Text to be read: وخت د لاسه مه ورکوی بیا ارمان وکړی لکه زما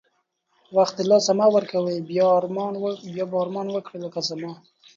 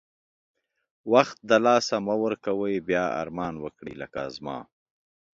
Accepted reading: first